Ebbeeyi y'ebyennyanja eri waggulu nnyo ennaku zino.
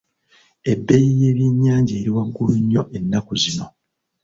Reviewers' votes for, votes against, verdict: 2, 0, accepted